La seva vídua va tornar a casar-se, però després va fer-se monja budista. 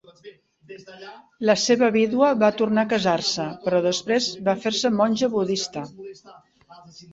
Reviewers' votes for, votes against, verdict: 2, 0, accepted